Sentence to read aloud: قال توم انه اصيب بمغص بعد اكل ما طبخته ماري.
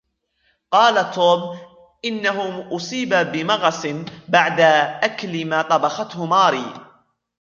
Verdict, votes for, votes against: rejected, 0, 2